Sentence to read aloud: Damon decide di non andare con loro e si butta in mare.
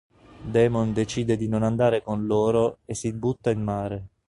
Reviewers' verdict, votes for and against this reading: accepted, 2, 0